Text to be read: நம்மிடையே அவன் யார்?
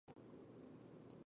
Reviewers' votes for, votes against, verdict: 0, 2, rejected